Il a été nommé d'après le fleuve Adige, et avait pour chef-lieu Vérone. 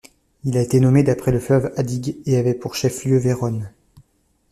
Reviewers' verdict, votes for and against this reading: rejected, 0, 2